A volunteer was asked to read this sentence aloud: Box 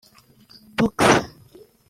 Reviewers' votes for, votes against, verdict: 2, 0, accepted